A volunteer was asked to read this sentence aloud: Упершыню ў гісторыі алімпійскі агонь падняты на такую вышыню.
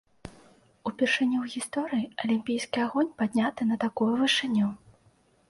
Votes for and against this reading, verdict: 2, 0, accepted